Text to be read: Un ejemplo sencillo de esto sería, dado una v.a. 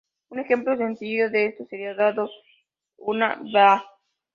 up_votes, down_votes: 0, 3